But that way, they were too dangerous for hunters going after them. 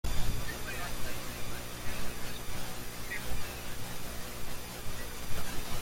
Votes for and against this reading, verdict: 0, 2, rejected